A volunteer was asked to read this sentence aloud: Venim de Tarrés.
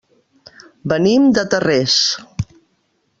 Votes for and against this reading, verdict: 2, 0, accepted